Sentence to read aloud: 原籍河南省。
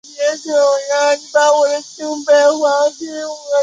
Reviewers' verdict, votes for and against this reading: rejected, 0, 4